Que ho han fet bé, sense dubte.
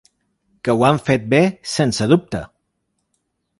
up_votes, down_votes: 4, 0